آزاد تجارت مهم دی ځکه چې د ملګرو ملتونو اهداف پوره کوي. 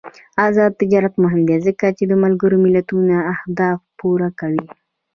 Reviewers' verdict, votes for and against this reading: accepted, 2, 1